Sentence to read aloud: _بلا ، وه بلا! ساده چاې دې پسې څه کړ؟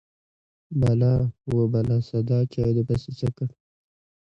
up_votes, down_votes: 0, 2